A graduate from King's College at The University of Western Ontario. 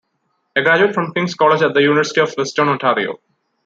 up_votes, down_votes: 0, 2